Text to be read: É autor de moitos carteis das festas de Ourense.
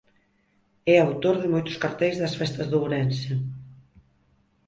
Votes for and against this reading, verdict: 4, 0, accepted